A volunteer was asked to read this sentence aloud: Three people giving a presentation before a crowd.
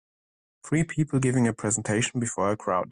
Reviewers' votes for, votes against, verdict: 2, 0, accepted